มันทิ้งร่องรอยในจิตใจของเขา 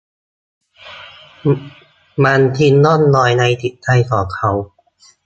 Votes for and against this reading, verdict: 0, 2, rejected